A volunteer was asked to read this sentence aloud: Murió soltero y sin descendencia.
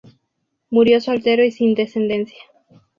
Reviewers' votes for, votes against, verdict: 4, 0, accepted